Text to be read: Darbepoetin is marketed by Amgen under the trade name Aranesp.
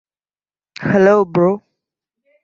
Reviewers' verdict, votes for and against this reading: rejected, 0, 2